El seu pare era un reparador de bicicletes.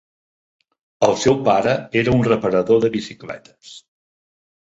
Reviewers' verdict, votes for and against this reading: accepted, 3, 0